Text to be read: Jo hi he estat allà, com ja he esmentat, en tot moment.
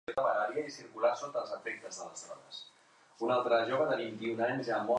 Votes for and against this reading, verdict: 0, 2, rejected